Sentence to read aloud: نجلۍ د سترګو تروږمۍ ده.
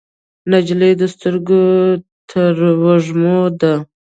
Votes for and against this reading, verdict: 1, 2, rejected